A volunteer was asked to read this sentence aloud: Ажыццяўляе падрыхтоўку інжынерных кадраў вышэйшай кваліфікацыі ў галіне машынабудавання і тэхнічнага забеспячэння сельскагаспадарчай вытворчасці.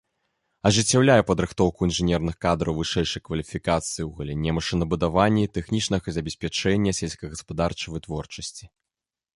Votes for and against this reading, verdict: 2, 0, accepted